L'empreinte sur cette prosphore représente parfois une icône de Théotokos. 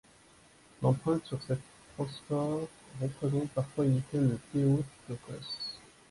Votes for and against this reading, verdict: 2, 3, rejected